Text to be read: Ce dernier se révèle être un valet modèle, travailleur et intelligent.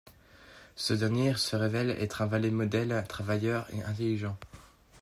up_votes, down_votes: 1, 2